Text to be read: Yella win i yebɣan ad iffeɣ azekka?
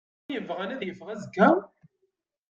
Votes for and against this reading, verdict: 0, 2, rejected